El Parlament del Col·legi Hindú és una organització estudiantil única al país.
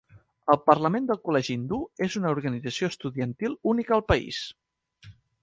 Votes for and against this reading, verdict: 4, 0, accepted